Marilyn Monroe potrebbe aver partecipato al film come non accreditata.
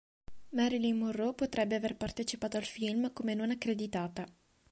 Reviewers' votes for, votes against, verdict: 2, 0, accepted